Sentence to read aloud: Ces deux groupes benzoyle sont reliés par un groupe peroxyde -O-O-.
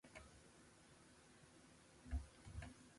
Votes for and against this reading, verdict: 0, 2, rejected